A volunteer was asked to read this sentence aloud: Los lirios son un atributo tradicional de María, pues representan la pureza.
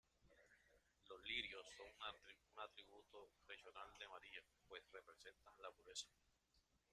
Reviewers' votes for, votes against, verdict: 0, 2, rejected